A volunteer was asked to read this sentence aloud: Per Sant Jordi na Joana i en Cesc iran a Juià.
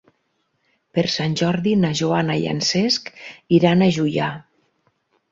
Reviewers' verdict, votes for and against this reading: accepted, 8, 0